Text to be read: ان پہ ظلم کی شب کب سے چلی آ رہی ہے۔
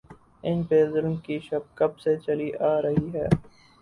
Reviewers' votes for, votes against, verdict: 0, 2, rejected